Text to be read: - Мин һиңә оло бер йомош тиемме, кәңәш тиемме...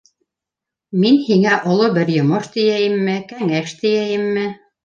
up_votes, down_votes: 1, 2